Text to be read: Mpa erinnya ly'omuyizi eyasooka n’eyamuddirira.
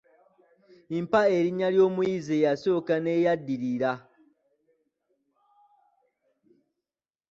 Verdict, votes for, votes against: rejected, 1, 2